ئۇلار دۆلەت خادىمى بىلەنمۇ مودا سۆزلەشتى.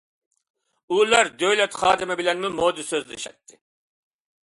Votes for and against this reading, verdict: 0, 2, rejected